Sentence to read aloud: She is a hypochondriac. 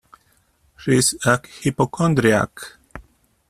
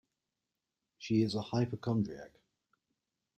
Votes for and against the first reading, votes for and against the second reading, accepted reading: 0, 2, 2, 0, second